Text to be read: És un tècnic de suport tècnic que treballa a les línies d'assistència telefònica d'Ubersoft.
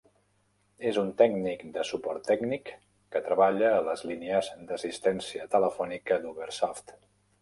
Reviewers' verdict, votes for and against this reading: rejected, 0, 2